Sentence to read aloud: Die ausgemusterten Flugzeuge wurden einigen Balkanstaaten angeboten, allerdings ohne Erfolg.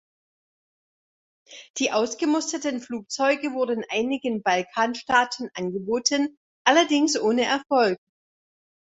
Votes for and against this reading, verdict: 2, 0, accepted